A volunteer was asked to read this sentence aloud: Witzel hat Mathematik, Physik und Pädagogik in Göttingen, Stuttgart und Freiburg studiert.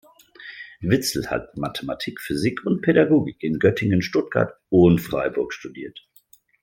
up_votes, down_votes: 2, 0